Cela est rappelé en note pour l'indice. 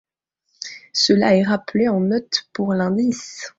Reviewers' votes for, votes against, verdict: 2, 0, accepted